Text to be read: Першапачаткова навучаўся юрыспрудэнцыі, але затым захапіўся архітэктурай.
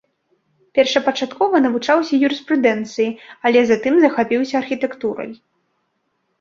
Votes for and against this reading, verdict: 3, 0, accepted